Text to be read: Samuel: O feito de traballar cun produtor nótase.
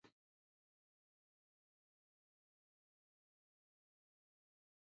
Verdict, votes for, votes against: rejected, 0, 2